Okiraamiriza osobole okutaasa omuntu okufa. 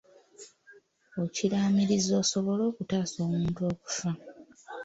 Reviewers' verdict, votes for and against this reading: rejected, 0, 2